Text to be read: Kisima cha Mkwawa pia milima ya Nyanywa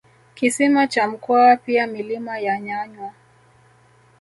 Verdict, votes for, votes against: accepted, 2, 0